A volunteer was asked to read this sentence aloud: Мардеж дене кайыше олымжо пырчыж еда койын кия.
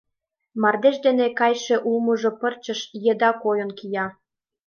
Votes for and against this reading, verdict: 0, 2, rejected